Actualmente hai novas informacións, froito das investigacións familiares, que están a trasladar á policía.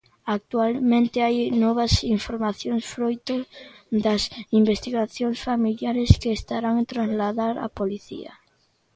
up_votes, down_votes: 2, 3